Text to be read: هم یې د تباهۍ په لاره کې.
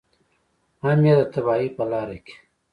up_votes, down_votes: 1, 2